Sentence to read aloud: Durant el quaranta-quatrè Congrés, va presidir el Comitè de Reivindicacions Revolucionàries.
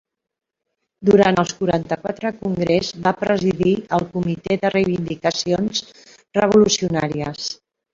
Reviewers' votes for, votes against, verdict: 1, 2, rejected